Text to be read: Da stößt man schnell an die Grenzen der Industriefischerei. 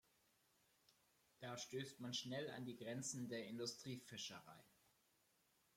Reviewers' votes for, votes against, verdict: 2, 0, accepted